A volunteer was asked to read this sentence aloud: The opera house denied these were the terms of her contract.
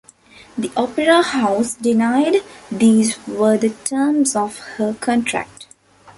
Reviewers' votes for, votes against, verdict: 2, 0, accepted